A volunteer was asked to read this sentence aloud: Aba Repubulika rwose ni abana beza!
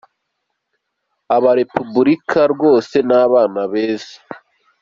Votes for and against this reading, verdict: 2, 0, accepted